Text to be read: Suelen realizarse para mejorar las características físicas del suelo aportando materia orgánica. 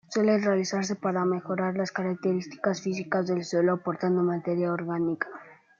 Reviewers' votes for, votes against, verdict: 2, 0, accepted